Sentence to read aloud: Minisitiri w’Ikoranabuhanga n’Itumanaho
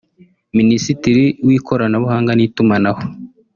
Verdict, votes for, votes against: rejected, 1, 2